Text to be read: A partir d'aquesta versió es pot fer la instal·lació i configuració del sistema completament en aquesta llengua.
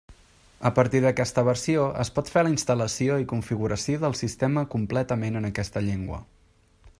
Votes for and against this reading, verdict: 3, 0, accepted